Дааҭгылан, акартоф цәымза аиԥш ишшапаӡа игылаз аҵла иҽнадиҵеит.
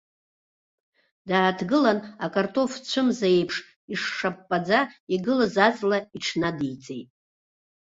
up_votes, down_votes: 2, 0